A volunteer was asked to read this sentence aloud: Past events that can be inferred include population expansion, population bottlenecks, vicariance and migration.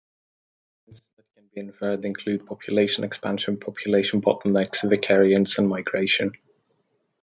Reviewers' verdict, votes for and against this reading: rejected, 1, 2